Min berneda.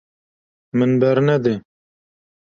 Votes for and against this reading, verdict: 0, 2, rejected